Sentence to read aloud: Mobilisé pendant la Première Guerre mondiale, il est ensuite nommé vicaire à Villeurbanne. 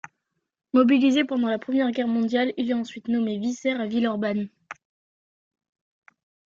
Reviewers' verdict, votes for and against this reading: rejected, 0, 2